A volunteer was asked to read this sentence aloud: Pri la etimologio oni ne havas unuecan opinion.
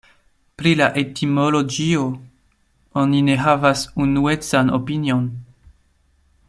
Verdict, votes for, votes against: rejected, 0, 2